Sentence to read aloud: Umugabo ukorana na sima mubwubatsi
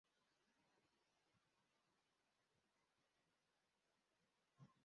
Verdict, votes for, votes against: rejected, 0, 2